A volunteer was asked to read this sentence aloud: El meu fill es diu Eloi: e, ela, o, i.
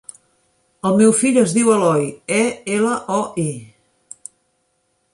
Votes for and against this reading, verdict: 2, 0, accepted